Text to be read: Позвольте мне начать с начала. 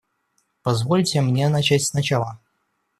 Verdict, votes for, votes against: accepted, 2, 0